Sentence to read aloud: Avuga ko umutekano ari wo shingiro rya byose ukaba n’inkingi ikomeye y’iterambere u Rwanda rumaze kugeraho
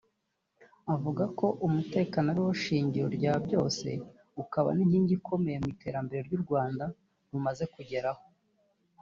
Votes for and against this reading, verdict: 1, 2, rejected